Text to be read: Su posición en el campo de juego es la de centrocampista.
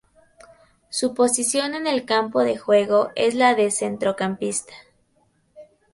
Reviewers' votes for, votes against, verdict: 4, 2, accepted